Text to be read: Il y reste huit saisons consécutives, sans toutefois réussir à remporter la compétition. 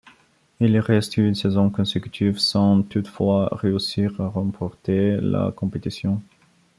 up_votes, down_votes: 2, 0